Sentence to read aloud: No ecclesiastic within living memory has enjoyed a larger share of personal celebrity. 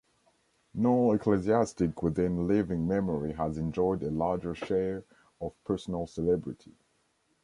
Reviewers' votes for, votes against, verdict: 4, 0, accepted